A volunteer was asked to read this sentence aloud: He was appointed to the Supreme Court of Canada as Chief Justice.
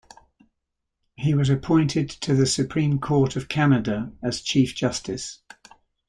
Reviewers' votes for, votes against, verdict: 2, 0, accepted